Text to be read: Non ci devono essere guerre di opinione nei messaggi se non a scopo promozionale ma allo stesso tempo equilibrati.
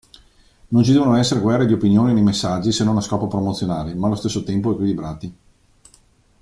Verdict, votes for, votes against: accepted, 2, 1